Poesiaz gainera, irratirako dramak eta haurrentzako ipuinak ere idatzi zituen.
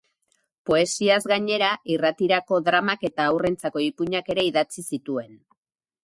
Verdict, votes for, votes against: accepted, 6, 0